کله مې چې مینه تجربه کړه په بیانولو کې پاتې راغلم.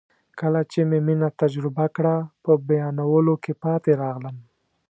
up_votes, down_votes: 2, 0